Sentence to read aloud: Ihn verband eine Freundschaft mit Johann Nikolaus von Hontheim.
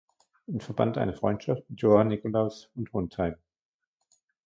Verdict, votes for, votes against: rejected, 1, 2